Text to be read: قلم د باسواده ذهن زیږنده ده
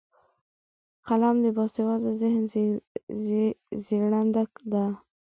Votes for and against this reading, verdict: 2, 0, accepted